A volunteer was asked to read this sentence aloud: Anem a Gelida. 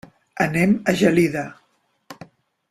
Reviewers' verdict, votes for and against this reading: accepted, 3, 0